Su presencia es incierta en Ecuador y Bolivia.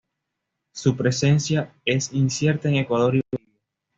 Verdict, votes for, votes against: rejected, 1, 2